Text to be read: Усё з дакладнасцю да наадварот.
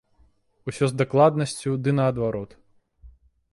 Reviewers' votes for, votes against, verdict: 0, 2, rejected